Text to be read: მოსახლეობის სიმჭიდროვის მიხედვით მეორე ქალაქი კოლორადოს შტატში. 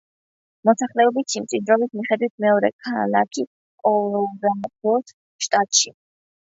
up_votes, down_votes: 2, 1